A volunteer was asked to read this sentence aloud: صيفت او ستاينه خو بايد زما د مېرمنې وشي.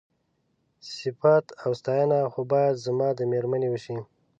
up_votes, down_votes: 2, 0